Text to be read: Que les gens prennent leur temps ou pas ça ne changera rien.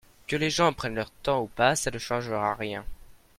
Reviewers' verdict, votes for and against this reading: accepted, 2, 1